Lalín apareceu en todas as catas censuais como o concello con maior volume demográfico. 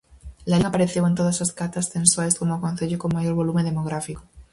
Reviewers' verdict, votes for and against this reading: rejected, 2, 2